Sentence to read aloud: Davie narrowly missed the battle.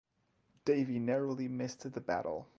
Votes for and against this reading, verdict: 4, 0, accepted